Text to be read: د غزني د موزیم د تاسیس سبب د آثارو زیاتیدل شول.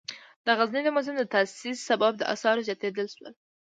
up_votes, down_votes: 2, 1